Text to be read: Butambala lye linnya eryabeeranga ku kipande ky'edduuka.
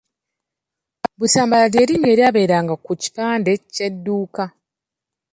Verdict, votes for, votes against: rejected, 1, 2